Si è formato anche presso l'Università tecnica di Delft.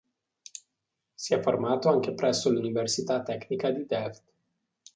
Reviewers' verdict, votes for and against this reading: accepted, 2, 0